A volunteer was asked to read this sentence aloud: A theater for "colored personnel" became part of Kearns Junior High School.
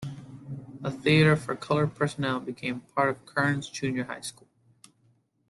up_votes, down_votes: 2, 0